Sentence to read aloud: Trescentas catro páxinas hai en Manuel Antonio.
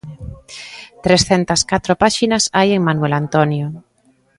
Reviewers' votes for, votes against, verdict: 2, 0, accepted